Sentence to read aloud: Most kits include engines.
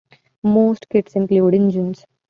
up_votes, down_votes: 2, 0